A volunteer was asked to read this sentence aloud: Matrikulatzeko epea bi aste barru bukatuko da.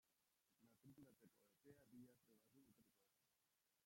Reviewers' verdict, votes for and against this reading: rejected, 0, 2